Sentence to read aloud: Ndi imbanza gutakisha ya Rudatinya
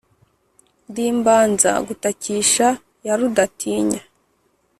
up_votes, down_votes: 4, 0